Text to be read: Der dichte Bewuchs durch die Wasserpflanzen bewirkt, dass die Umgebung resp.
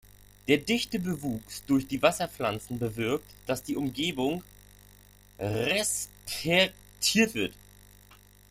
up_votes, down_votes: 0, 2